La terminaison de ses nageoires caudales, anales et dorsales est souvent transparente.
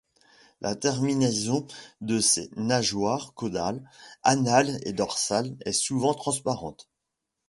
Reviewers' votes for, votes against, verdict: 2, 0, accepted